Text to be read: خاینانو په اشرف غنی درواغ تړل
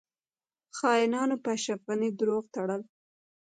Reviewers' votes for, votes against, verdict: 1, 2, rejected